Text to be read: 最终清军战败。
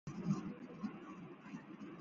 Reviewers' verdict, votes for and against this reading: rejected, 0, 3